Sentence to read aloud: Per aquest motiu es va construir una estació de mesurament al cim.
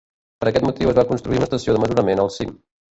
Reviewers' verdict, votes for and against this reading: rejected, 0, 2